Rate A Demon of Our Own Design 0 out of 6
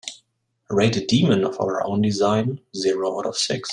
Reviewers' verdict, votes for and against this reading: rejected, 0, 2